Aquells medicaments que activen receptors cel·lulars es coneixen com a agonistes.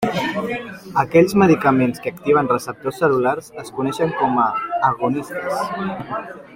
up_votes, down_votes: 2, 1